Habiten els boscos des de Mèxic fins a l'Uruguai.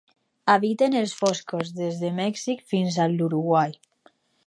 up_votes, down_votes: 6, 0